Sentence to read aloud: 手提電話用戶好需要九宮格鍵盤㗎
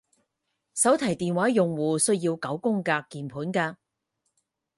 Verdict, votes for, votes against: rejected, 0, 4